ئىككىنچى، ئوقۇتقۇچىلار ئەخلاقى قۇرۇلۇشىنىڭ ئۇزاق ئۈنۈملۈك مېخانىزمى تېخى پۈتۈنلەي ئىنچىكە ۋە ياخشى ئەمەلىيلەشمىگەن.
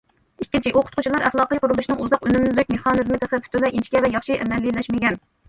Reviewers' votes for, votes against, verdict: 0, 2, rejected